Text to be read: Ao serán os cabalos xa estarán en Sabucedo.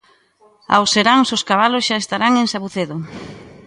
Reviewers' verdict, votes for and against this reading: rejected, 0, 2